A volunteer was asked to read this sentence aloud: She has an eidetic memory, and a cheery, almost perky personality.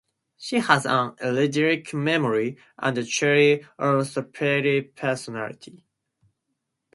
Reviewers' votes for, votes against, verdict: 2, 0, accepted